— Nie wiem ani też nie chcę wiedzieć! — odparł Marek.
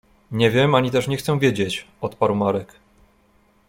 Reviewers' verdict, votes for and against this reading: accepted, 2, 0